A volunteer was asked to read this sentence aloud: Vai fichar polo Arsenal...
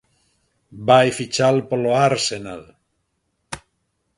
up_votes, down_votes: 0, 2